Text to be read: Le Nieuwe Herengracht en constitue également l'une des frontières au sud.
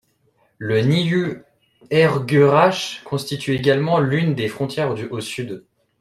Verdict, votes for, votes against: rejected, 0, 2